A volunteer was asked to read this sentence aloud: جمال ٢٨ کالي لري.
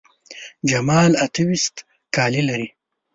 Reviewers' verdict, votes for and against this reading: rejected, 0, 2